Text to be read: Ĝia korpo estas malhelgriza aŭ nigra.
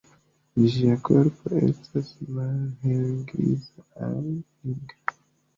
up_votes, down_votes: 1, 2